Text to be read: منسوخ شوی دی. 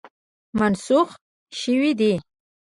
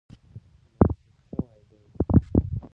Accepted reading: first